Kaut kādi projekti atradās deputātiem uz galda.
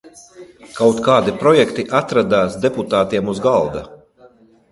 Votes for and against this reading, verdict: 2, 0, accepted